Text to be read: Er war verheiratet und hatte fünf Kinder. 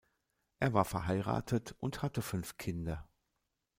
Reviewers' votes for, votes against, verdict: 2, 0, accepted